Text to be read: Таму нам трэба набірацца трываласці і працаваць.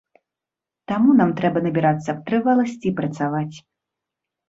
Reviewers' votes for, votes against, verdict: 1, 2, rejected